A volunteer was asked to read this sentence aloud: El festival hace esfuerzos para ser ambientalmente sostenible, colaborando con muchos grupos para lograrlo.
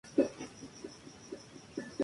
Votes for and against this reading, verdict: 0, 2, rejected